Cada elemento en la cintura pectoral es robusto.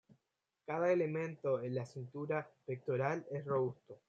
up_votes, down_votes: 2, 1